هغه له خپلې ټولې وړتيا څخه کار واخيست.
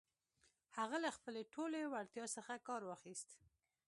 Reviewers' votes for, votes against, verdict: 2, 0, accepted